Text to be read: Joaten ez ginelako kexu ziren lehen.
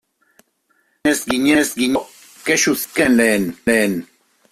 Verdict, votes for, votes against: rejected, 0, 2